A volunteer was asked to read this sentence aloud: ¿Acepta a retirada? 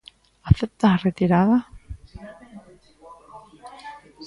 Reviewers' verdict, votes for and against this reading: rejected, 1, 2